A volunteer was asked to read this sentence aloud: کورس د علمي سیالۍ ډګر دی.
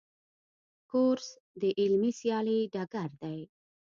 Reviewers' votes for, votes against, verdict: 1, 2, rejected